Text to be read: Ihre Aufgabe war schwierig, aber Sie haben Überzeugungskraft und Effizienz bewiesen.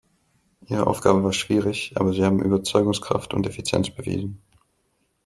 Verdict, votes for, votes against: accepted, 2, 0